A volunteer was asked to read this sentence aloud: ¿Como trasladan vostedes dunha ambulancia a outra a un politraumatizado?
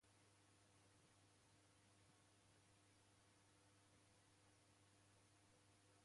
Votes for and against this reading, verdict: 0, 2, rejected